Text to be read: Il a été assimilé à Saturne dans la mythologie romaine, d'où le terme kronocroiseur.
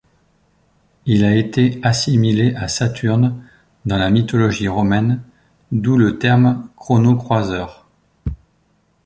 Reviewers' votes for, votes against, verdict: 2, 0, accepted